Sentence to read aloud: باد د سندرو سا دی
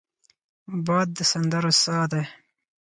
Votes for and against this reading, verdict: 4, 0, accepted